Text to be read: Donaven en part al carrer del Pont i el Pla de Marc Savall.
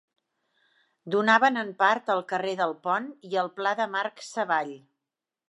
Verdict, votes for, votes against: accepted, 2, 0